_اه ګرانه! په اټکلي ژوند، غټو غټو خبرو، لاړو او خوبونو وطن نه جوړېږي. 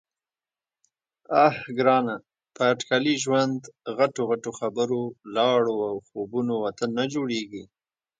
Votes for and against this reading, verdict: 1, 2, rejected